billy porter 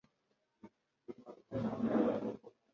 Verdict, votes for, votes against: rejected, 1, 2